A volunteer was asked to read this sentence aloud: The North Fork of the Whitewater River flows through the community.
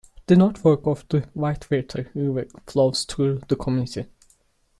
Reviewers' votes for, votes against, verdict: 0, 2, rejected